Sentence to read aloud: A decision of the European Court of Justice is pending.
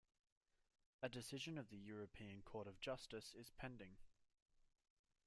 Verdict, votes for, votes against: rejected, 1, 2